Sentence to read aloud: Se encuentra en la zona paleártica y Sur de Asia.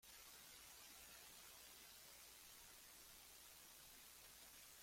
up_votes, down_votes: 0, 2